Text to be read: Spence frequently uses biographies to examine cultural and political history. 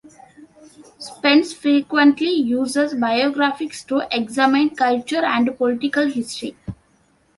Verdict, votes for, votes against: accepted, 2, 0